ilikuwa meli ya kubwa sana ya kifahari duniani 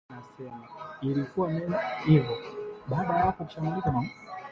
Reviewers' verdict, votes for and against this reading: rejected, 4, 7